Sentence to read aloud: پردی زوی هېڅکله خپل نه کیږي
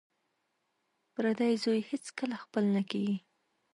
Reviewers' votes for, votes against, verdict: 1, 2, rejected